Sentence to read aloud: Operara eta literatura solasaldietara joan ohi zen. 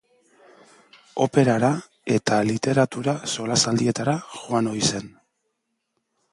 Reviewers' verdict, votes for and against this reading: accepted, 2, 0